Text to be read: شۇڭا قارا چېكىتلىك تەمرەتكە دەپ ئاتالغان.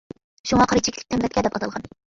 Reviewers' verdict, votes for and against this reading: rejected, 0, 2